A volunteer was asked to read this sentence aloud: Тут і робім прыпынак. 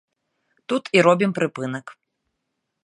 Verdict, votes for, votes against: accepted, 2, 0